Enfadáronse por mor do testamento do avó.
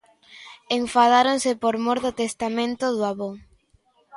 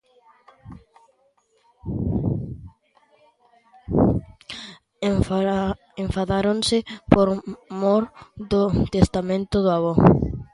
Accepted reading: first